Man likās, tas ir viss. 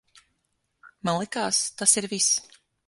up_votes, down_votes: 6, 0